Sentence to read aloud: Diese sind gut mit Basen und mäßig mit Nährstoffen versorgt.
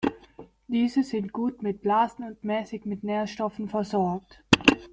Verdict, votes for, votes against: rejected, 0, 2